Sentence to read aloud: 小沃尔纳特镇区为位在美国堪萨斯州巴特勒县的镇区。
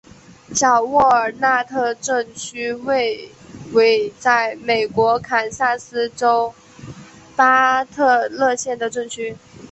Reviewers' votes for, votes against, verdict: 3, 0, accepted